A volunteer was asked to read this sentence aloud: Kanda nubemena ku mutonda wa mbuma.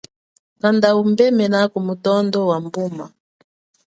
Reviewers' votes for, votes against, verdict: 2, 0, accepted